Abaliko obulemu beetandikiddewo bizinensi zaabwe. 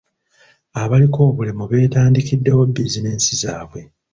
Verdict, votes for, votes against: accepted, 2, 1